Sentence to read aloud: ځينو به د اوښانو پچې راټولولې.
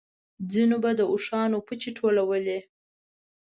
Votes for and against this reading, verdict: 0, 2, rejected